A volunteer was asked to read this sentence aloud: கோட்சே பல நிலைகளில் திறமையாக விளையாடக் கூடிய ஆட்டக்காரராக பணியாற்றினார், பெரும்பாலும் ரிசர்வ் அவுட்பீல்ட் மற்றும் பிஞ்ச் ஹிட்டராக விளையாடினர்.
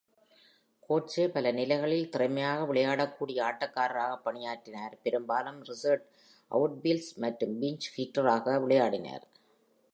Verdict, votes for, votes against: accepted, 2, 1